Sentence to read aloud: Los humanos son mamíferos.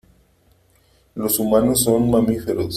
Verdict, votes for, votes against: accepted, 3, 0